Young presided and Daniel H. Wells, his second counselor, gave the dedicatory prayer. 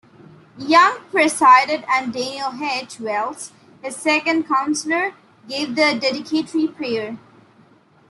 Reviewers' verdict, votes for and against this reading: accepted, 2, 1